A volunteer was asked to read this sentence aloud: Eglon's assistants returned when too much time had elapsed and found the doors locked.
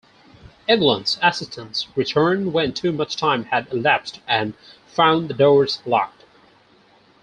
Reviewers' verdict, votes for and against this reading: accepted, 4, 0